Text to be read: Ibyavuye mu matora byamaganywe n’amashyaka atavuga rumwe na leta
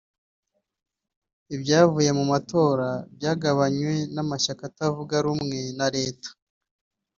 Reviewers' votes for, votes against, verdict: 2, 0, accepted